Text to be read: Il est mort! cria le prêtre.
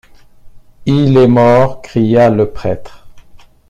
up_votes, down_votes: 2, 1